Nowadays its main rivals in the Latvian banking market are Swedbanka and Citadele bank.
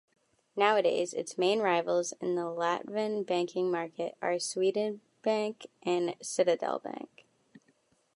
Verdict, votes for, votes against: rejected, 0, 2